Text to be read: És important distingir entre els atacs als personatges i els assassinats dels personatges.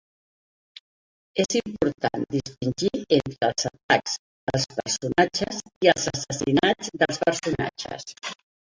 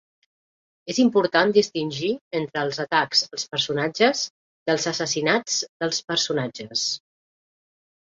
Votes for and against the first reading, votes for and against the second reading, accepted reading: 1, 2, 2, 0, second